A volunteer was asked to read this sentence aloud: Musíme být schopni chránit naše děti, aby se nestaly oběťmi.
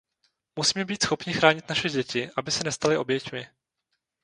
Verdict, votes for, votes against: accepted, 2, 0